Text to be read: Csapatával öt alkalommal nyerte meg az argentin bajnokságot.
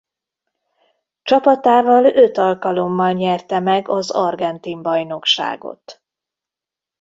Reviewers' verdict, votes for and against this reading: accepted, 2, 0